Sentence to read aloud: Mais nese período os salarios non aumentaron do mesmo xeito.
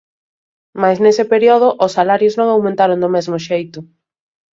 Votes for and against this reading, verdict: 1, 2, rejected